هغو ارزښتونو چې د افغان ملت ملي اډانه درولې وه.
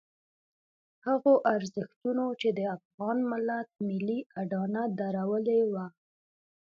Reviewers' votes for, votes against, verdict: 2, 0, accepted